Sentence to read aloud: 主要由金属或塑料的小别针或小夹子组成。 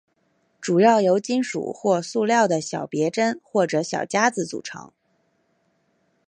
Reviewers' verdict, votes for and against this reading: accepted, 3, 0